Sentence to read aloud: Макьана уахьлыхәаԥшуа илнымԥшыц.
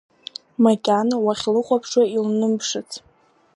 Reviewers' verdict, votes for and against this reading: accepted, 2, 1